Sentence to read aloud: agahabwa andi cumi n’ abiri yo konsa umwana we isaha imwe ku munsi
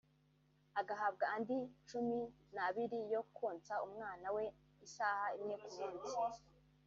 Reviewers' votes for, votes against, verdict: 1, 2, rejected